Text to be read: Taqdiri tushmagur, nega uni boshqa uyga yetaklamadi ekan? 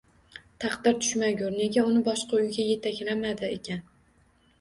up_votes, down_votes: 2, 0